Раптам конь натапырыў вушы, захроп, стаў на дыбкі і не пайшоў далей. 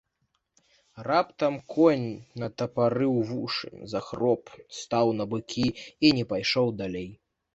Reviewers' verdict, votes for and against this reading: rejected, 0, 2